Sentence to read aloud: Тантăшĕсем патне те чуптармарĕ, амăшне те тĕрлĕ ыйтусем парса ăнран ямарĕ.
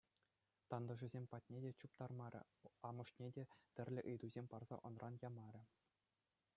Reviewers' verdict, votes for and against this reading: accepted, 2, 0